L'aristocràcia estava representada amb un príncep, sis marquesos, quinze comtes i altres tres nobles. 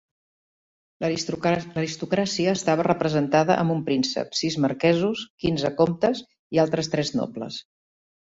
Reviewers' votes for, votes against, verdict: 1, 2, rejected